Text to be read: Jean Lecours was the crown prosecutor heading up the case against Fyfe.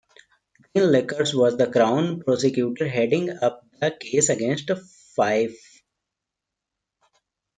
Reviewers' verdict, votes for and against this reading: rejected, 0, 2